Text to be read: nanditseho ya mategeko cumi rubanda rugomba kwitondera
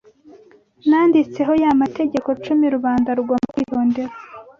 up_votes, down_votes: 2, 0